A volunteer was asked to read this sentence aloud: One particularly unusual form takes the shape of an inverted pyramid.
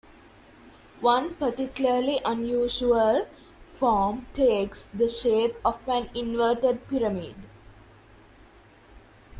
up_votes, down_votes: 1, 2